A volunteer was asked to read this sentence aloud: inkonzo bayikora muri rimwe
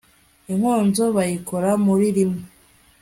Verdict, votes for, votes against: rejected, 1, 2